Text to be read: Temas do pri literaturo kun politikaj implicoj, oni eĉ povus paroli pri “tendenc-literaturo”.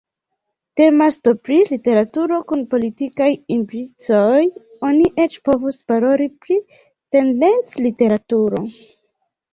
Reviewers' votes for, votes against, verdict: 2, 0, accepted